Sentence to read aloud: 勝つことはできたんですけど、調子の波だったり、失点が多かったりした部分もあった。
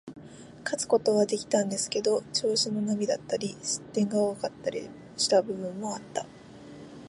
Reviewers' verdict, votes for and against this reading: accepted, 2, 0